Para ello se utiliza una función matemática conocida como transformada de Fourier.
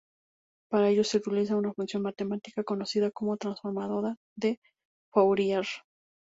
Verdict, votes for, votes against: rejected, 0, 2